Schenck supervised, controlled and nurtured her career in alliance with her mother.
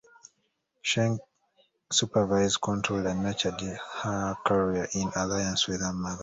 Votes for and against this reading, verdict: 1, 2, rejected